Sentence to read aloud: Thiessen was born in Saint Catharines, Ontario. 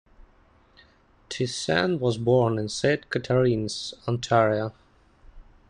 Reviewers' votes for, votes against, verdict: 2, 0, accepted